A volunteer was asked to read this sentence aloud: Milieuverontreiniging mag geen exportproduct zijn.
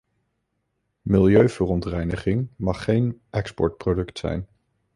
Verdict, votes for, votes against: accepted, 2, 0